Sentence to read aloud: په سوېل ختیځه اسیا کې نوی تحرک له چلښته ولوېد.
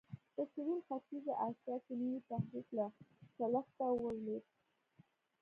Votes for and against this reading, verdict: 1, 2, rejected